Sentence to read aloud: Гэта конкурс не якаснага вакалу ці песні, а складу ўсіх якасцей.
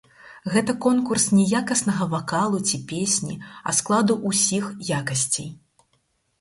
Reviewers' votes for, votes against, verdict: 4, 2, accepted